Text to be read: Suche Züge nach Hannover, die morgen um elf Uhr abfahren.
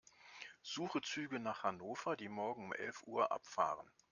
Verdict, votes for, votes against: accepted, 2, 0